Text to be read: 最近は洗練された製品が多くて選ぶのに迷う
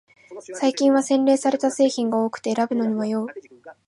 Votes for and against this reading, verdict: 3, 0, accepted